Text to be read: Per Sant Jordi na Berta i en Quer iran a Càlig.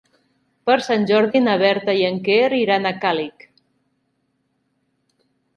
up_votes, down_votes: 3, 0